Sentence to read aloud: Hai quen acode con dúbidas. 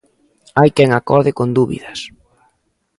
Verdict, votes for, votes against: accepted, 2, 0